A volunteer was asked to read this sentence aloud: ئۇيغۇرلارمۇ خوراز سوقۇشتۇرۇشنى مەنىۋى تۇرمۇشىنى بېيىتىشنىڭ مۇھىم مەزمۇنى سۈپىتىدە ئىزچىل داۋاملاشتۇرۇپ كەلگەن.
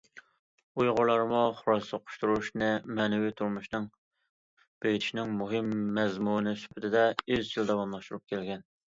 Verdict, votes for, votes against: rejected, 0, 2